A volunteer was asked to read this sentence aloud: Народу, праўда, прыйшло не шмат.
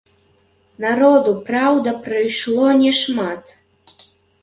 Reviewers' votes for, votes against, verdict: 0, 2, rejected